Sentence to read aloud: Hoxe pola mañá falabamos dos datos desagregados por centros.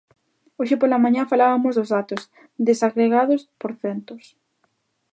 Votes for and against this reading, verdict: 0, 2, rejected